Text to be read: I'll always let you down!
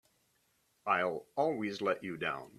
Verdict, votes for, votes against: accepted, 3, 0